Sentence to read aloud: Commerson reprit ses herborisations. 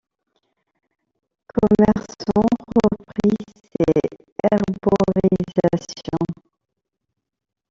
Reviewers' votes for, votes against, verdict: 0, 2, rejected